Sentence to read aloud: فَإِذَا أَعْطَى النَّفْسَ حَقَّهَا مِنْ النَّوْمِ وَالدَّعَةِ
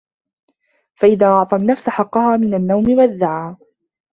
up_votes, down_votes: 0, 2